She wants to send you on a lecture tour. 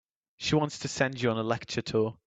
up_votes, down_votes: 3, 0